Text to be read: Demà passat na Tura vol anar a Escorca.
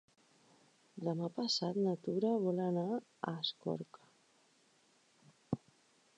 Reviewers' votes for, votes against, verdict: 3, 4, rejected